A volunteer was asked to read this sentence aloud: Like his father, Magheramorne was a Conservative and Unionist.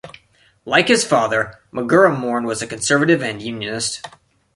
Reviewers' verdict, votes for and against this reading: rejected, 1, 2